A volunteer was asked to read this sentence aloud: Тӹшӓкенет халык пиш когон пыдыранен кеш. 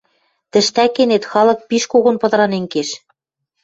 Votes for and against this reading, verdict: 0, 2, rejected